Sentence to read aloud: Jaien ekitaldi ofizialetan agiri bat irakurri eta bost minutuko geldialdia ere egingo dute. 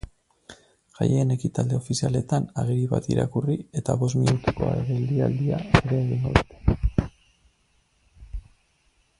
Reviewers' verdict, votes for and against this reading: rejected, 0, 4